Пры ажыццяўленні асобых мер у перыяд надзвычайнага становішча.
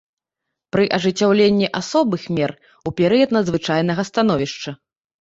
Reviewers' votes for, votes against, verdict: 2, 0, accepted